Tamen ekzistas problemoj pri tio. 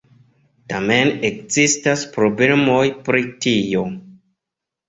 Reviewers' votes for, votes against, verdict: 2, 0, accepted